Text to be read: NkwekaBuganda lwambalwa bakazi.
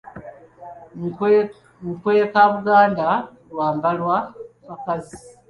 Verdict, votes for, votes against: rejected, 1, 2